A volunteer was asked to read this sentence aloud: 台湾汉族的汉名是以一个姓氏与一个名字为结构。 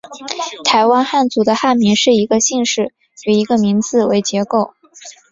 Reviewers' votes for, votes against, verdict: 2, 0, accepted